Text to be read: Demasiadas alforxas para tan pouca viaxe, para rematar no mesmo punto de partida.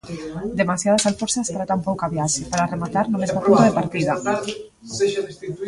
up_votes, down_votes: 0, 2